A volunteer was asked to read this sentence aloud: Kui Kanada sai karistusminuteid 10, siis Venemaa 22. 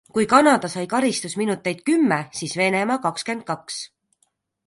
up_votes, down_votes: 0, 2